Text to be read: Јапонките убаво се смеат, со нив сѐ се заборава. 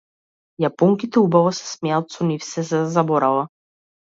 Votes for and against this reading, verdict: 2, 0, accepted